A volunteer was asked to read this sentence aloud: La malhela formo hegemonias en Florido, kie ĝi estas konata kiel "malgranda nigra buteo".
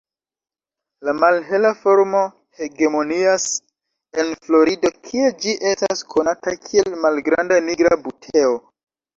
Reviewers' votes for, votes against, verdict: 0, 2, rejected